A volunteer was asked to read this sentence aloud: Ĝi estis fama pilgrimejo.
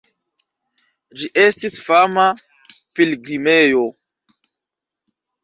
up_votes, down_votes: 2, 0